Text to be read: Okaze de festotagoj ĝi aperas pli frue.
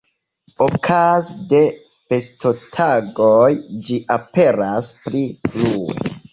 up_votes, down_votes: 2, 1